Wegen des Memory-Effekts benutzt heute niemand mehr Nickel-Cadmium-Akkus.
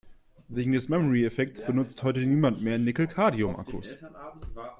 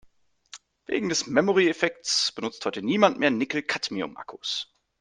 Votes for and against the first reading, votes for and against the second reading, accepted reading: 0, 2, 3, 0, second